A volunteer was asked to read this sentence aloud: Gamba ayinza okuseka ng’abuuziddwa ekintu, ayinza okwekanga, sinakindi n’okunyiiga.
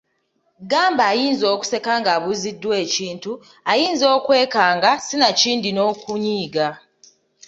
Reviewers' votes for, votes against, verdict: 3, 0, accepted